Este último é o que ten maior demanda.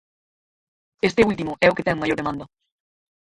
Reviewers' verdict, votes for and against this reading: rejected, 2, 4